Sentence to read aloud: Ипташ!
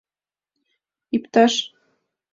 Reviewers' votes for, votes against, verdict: 2, 0, accepted